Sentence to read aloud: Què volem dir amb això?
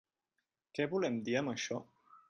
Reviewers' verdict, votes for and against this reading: accepted, 5, 0